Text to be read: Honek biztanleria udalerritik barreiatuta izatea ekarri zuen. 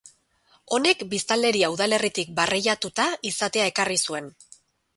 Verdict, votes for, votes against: accepted, 2, 0